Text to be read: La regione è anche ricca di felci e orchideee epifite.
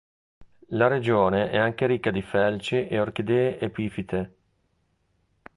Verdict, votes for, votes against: rejected, 1, 2